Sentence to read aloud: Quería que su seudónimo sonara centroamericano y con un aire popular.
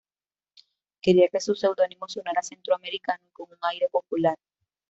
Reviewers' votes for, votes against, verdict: 2, 0, accepted